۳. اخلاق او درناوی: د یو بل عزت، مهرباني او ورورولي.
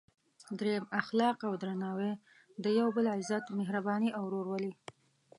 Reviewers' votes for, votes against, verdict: 0, 2, rejected